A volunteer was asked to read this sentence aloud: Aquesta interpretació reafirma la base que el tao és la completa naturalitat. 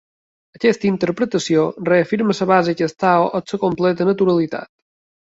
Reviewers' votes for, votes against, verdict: 0, 2, rejected